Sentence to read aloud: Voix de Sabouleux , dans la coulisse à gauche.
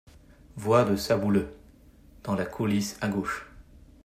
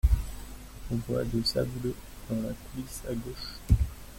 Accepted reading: first